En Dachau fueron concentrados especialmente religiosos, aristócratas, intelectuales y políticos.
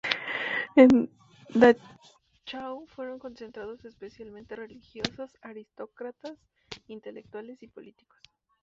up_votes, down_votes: 0, 2